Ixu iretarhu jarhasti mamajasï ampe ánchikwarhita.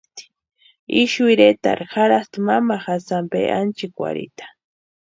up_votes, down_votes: 2, 0